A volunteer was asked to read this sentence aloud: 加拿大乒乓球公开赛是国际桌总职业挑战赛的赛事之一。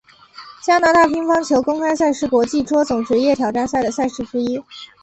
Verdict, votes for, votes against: accepted, 2, 0